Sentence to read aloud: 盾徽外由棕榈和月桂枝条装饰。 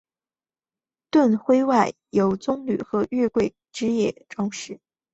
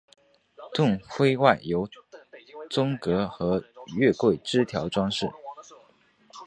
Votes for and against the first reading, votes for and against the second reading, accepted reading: 7, 1, 1, 2, first